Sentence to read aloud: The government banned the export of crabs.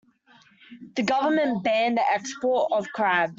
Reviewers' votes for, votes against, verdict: 0, 2, rejected